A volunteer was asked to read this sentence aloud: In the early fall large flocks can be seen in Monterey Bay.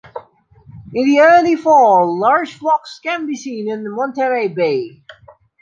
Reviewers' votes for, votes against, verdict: 0, 2, rejected